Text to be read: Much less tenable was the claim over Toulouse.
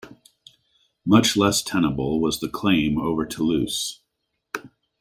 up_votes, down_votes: 2, 0